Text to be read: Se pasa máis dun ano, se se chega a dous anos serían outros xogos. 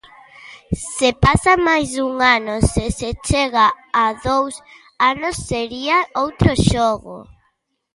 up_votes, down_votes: 0, 2